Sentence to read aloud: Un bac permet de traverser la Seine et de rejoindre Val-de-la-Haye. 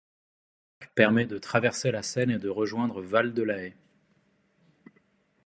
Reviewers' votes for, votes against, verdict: 0, 2, rejected